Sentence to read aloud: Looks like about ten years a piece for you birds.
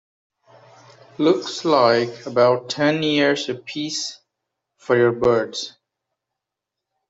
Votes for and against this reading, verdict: 1, 3, rejected